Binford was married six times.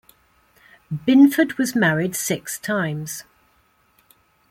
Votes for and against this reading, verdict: 2, 0, accepted